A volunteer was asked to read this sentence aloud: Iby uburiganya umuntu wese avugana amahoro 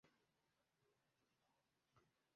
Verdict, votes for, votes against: rejected, 1, 2